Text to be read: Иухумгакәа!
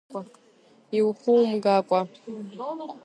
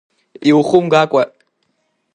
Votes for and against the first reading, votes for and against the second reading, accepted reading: 1, 2, 2, 0, second